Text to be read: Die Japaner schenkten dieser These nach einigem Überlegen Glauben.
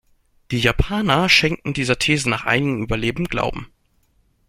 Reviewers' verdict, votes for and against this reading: rejected, 0, 2